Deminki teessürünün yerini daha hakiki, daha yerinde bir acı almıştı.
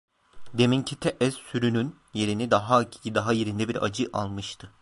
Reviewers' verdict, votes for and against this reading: rejected, 0, 2